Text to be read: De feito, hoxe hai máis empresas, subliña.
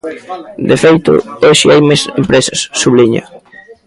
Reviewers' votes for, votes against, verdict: 1, 2, rejected